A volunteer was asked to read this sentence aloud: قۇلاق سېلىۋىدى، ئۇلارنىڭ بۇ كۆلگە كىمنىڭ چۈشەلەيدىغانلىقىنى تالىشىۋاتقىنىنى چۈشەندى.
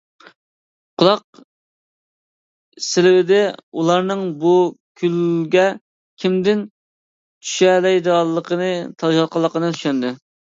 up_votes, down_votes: 0, 2